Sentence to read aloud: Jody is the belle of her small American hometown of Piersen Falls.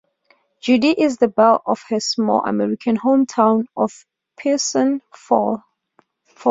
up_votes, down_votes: 0, 2